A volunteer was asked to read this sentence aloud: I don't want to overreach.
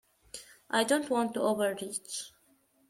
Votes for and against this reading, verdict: 2, 0, accepted